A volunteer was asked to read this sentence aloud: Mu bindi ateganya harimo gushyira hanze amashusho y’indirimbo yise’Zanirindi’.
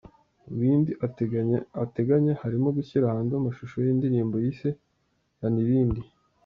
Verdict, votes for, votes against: rejected, 0, 2